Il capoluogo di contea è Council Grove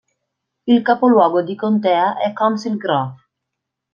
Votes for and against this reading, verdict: 2, 0, accepted